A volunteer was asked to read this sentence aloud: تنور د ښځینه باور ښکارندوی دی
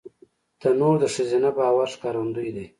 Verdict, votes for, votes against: rejected, 1, 2